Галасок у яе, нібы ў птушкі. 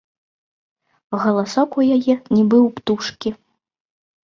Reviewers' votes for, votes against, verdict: 2, 0, accepted